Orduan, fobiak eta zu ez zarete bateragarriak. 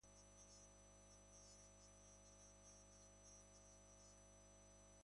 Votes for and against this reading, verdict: 0, 2, rejected